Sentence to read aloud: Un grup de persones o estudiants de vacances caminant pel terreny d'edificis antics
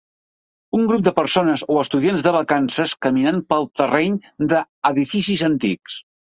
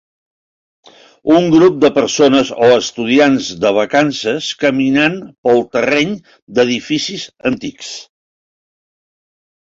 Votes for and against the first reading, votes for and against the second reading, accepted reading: 1, 2, 3, 0, second